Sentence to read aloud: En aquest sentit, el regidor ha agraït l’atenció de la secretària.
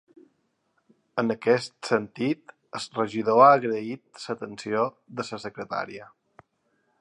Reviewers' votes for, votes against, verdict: 1, 2, rejected